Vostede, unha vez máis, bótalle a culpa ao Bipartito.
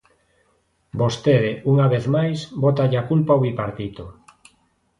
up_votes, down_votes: 2, 0